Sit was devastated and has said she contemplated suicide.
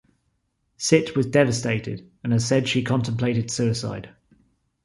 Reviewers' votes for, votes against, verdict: 2, 0, accepted